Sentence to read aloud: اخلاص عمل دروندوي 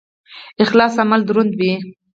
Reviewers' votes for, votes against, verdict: 2, 4, rejected